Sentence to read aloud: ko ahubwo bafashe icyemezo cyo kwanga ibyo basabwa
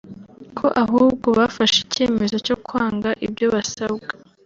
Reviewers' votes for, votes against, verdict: 2, 0, accepted